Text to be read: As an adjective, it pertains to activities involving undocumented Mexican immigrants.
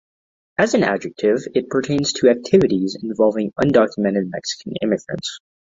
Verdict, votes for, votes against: accepted, 2, 0